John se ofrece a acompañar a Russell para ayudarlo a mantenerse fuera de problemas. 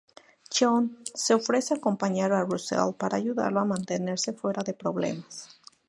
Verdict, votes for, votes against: accepted, 4, 0